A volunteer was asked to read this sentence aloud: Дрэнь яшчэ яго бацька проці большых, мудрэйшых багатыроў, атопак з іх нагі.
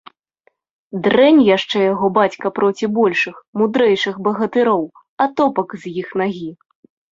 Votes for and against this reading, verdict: 2, 0, accepted